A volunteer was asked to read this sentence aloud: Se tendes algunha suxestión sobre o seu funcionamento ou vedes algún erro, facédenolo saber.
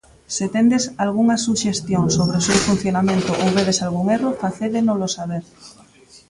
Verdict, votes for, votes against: rejected, 0, 2